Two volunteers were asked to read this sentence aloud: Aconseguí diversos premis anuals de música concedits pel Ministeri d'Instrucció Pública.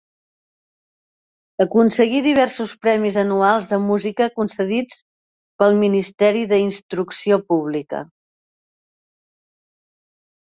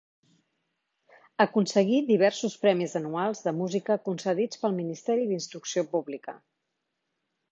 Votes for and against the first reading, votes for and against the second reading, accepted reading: 1, 2, 2, 0, second